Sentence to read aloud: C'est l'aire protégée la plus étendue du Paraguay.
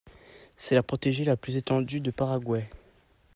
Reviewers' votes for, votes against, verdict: 1, 2, rejected